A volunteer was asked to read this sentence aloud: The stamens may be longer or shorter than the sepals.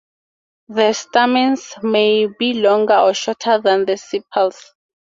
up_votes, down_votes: 2, 0